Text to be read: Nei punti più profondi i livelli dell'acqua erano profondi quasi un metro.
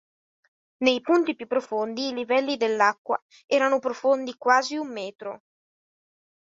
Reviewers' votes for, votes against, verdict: 3, 0, accepted